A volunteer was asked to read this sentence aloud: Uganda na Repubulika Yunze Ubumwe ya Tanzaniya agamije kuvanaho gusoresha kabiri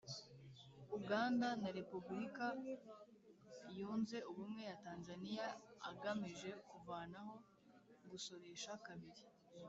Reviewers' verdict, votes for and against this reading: rejected, 0, 2